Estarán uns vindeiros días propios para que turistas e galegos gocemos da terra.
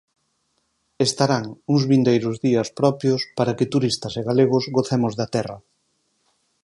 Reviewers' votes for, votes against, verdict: 4, 0, accepted